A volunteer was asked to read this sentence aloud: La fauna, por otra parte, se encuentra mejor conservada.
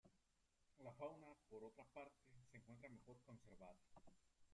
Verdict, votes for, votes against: rejected, 0, 2